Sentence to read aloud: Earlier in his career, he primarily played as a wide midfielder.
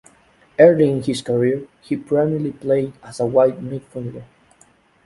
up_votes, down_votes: 2, 0